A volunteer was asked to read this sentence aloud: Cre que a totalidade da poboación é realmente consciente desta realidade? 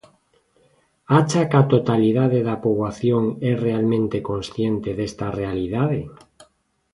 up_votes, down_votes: 0, 2